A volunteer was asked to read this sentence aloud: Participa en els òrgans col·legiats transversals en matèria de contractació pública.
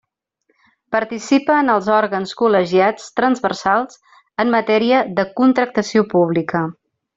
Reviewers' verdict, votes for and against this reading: accepted, 3, 0